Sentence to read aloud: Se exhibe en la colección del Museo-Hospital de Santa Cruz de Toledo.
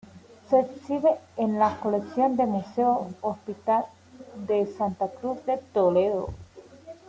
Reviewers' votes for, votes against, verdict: 2, 0, accepted